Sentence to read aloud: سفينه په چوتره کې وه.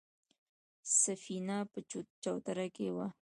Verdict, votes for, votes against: accepted, 2, 0